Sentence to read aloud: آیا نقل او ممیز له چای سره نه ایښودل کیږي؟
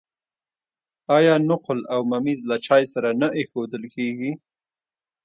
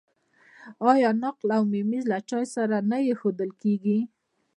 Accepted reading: second